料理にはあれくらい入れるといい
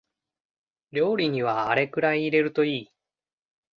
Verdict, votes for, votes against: accepted, 2, 0